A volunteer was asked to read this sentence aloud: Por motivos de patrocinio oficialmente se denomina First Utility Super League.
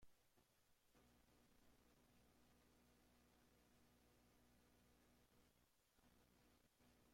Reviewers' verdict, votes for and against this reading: rejected, 0, 2